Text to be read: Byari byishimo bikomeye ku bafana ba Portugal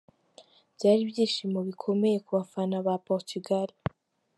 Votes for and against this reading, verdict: 3, 1, accepted